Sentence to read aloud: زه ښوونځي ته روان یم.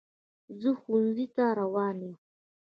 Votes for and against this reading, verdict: 1, 2, rejected